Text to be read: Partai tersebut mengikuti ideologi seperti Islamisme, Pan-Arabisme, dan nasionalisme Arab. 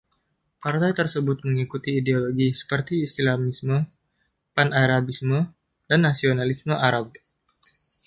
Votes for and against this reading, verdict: 2, 0, accepted